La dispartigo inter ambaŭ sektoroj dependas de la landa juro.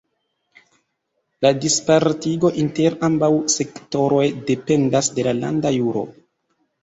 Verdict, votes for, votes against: accepted, 2, 0